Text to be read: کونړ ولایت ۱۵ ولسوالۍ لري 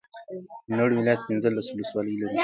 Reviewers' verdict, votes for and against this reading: rejected, 0, 2